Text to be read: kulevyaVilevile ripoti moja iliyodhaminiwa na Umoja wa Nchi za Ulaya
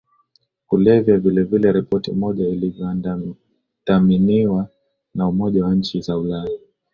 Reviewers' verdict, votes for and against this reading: rejected, 0, 2